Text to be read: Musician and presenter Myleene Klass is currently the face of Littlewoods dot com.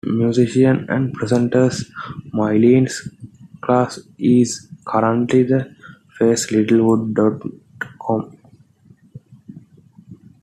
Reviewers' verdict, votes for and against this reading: rejected, 1, 2